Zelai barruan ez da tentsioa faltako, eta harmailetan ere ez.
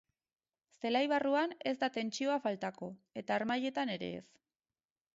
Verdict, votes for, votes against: rejected, 2, 4